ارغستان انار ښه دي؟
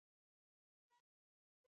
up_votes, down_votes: 0, 2